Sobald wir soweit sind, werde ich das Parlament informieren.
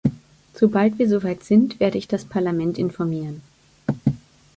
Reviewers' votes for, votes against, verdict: 2, 0, accepted